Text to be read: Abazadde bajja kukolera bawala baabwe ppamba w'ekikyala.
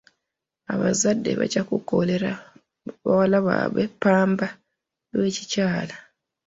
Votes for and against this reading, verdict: 2, 1, accepted